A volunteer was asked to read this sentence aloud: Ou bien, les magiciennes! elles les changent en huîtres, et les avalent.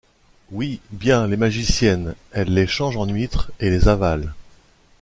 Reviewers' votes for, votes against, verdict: 0, 2, rejected